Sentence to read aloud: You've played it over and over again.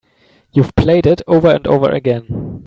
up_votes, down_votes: 2, 0